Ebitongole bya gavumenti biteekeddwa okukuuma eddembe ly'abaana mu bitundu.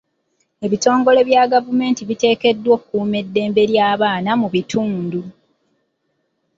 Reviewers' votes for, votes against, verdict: 1, 2, rejected